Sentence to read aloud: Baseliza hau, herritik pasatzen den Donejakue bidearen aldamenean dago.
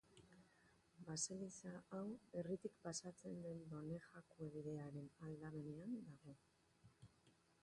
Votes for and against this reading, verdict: 1, 2, rejected